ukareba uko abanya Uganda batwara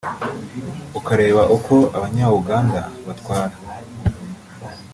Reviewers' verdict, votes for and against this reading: rejected, 0, 2